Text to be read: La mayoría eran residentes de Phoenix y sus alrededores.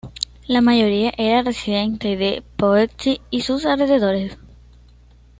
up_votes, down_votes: 1, 2